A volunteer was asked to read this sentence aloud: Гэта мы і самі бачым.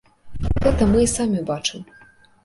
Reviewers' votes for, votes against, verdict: 1, 2, rejected